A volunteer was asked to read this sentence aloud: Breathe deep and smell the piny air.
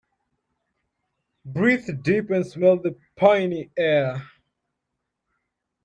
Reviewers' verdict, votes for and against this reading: accepted, 2, 0